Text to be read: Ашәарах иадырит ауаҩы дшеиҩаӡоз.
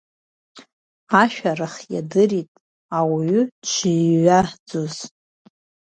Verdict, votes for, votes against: rejected, 1, 2